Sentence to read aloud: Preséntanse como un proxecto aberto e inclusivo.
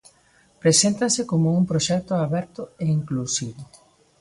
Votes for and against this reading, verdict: 0, 2, rejected